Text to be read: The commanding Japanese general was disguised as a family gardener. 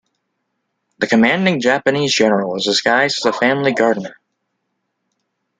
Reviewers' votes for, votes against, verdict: 2, 0, accepted